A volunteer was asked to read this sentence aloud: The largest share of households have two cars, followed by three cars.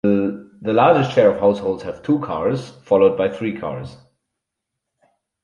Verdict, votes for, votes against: accepted, 4, 0